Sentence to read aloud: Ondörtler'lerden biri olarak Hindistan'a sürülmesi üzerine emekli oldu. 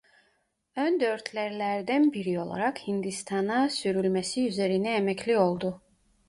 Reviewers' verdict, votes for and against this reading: rejected, 1, 2